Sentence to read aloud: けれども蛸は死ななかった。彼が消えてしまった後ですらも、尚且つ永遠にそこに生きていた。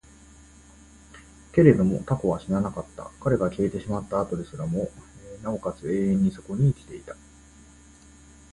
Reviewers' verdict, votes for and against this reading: accepted, 2, 0